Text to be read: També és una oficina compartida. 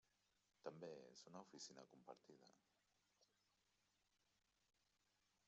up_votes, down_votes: 0, 2